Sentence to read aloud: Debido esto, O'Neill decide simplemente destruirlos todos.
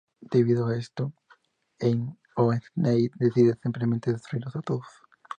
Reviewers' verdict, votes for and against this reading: rejected, 0, 2